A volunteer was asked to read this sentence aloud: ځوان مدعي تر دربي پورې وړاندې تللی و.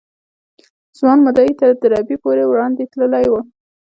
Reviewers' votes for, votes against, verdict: 2, 0, accepted